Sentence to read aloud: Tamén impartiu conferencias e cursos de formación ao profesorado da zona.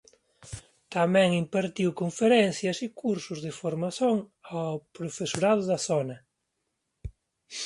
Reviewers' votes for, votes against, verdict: 0, 2, rejected